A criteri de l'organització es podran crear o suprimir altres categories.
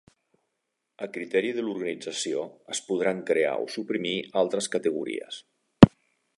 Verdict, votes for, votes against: accepted, 2, 0